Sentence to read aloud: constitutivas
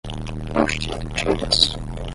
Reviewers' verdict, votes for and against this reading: rejected, 5, 5